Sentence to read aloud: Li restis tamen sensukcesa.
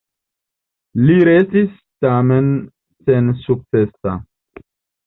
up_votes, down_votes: 1, 2